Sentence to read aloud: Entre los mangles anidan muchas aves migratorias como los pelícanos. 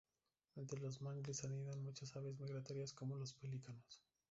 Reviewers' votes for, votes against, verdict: 0, 2, rejected